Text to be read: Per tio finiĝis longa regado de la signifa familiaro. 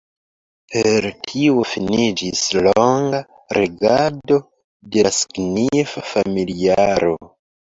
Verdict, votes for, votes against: rejected, 0, 2